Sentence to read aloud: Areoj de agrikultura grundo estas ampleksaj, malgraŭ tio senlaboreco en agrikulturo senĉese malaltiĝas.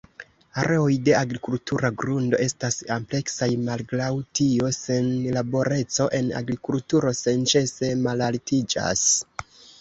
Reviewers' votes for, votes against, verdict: 2, 3, rejected